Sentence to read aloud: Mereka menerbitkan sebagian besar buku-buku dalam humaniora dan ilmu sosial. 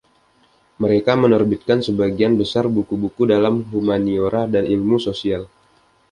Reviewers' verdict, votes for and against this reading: accepted, 2, 0